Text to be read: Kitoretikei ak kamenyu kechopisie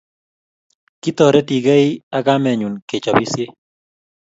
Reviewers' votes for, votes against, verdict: 2, 0, accepted